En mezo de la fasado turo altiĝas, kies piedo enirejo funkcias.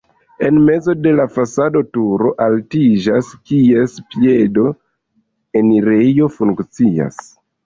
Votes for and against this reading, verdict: 2, 0, accepted